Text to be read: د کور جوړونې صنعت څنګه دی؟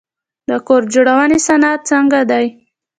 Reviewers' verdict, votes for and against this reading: accepted, 2, 1